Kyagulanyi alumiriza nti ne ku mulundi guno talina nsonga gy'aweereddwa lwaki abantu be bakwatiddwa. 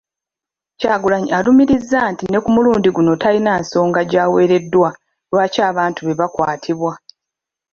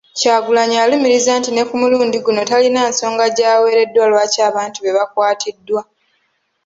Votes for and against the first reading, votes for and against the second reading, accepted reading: 1, 2, 2, 0, second